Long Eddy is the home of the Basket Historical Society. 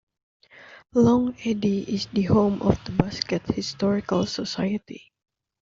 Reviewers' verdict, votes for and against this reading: accepted, 2, 0